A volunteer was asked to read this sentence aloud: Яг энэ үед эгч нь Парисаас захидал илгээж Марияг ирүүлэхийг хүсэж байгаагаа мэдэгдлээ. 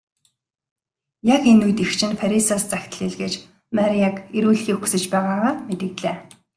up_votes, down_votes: 2, 0